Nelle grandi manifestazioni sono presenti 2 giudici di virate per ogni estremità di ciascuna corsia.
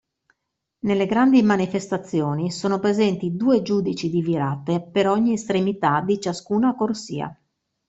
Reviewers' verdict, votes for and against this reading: rejected, 0, 2